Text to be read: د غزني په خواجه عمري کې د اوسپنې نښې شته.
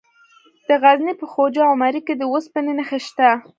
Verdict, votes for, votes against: accepted, 2, 0